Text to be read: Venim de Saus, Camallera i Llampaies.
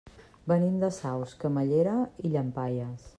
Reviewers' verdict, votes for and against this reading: accepted, 2, 0